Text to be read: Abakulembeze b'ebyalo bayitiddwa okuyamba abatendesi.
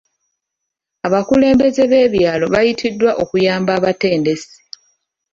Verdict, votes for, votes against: accepted, 2, 0